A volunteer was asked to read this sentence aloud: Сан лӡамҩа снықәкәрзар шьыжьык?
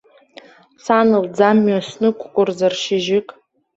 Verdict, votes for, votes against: rejected, 0, 2